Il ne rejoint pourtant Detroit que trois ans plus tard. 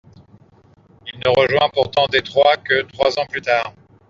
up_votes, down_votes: 2, 0